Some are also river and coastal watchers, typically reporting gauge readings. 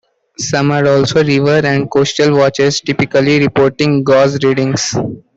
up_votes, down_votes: 2, 1